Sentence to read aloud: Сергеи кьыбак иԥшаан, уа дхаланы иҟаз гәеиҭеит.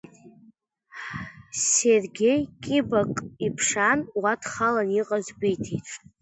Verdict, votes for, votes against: accepted, 2, 0